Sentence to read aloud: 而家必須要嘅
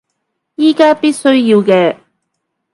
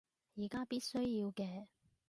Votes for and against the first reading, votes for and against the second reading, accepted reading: 1, 2, 2, 0, second